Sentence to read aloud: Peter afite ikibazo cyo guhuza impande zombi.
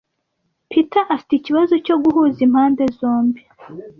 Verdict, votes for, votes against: accepted, 2, 0